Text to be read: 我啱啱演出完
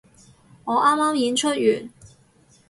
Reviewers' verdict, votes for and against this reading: accepted, 4, 0